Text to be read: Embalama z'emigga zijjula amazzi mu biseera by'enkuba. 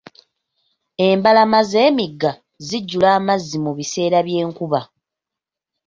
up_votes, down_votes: 2, 0